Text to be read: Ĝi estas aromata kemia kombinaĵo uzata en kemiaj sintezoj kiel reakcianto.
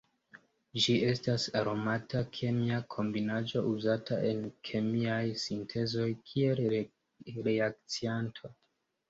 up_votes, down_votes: 1, 2